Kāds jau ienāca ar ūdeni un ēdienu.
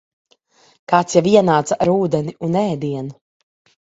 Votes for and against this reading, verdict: 2, 0, accepted